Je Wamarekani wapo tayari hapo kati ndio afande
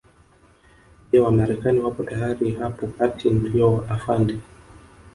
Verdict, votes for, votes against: accepted, 2, 1